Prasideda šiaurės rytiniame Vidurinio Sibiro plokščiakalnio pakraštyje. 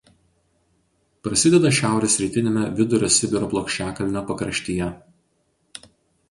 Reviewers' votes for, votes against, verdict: 0, 2, rejected